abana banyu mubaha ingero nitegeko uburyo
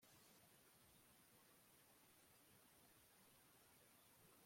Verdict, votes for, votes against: rejected, 2, 3